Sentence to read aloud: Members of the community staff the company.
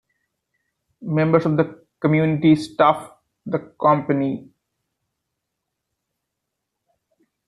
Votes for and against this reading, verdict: 2, 0, accepted